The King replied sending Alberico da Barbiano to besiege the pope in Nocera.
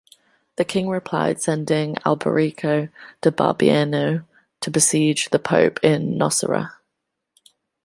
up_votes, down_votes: 2, 0